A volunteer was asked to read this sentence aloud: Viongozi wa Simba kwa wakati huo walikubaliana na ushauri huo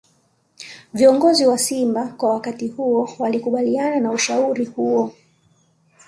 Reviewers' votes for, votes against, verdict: 2, 0, accepted